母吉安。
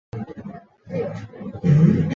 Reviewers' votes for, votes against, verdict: 1, 2, rejected